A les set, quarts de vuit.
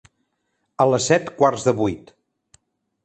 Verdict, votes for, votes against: accepted, 2, 0